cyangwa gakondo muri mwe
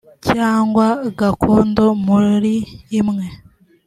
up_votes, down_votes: 1, 2